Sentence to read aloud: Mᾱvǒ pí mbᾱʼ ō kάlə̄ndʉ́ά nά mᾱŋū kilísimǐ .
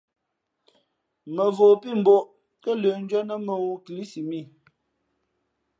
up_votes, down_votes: 2, 0